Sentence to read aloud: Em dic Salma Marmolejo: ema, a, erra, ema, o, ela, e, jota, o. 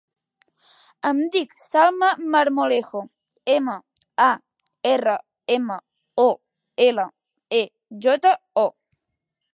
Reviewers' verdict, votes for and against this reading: accepted, 3, 0